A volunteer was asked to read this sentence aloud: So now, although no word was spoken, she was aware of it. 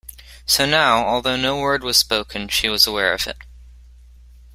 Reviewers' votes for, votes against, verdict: 3, 0, accepted